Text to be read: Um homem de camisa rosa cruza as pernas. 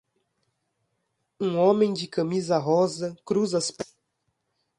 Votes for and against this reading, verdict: 0, 2, rejected